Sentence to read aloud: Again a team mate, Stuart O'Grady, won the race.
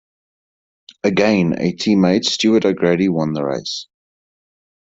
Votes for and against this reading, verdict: 2, 0, accepted